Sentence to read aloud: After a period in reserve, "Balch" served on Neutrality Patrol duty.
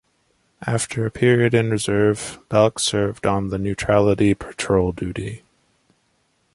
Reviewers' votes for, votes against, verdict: 2, 0, accepted